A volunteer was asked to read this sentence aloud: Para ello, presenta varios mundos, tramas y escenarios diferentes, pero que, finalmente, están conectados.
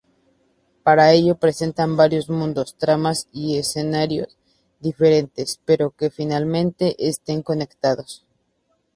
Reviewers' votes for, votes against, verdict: 0, 2, rejected